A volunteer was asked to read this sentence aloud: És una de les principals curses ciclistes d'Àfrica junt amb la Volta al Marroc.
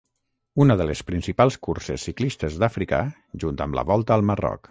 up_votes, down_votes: 0, 3